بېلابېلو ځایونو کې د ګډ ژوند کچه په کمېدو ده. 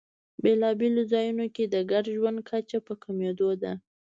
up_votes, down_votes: 2, 0